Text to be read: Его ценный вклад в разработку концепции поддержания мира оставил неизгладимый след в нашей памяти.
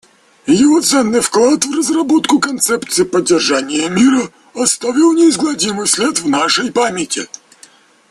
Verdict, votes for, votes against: rejected, 1, 2